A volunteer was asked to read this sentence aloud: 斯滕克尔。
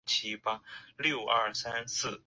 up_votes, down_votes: 0, 2